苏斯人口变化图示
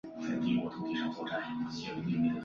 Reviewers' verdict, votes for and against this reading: rejected, 0, 5